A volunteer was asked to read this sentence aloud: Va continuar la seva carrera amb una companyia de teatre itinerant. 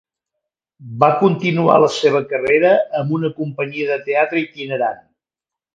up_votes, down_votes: 2, 0